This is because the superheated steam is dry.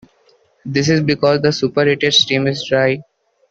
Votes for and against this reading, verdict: 2, 0, accepted